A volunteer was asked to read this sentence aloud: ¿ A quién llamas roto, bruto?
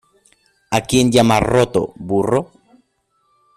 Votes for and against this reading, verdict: 0, 2, rejected